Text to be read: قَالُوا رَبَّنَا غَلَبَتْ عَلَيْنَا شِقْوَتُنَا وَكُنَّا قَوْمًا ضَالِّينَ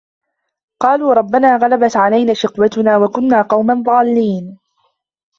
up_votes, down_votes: 2, 0